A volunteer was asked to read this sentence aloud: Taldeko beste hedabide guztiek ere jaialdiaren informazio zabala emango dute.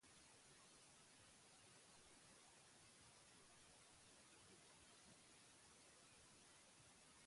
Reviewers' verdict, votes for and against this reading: rejected, 0, 6